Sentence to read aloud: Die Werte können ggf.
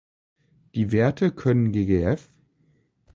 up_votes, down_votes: 1, 2